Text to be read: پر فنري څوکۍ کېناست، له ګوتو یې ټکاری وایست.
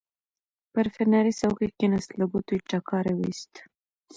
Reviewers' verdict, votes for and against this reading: accepted, 2, 0